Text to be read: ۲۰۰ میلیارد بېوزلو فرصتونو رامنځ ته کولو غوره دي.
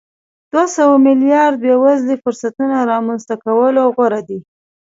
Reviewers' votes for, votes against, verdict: 0, 2, rejected